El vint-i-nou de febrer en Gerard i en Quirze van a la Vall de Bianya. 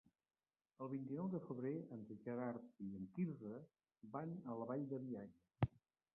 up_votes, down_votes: 1, 2